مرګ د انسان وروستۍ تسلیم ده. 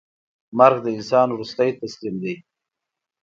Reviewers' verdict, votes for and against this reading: accepted, 2, 0